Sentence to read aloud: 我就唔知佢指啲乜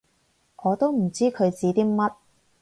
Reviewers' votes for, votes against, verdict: 2, 4, rejected